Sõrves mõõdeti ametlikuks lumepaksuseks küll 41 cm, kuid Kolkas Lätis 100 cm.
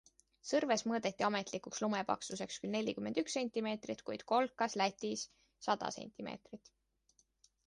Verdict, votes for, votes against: rejected, 0, 2